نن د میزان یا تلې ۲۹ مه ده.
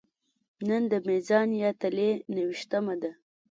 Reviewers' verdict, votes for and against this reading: rejected, 0, 2